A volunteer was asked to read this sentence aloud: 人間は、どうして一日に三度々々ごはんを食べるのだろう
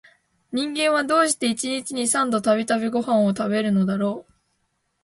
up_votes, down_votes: 10, 0